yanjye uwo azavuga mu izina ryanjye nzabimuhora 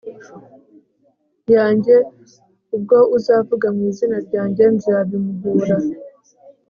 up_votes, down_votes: 2, 0